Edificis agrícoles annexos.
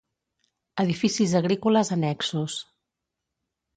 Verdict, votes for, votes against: accepted, 2, 0